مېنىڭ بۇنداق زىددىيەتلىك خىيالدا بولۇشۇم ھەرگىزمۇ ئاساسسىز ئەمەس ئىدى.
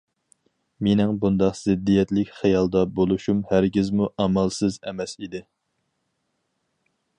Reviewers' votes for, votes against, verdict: 2, 2, rejected